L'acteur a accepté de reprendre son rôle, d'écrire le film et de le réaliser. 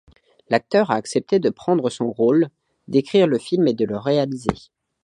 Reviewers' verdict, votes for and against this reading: rejected, 1, 2